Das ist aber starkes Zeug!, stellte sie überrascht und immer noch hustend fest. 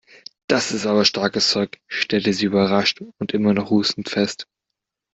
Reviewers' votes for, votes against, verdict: 2, 0, accepted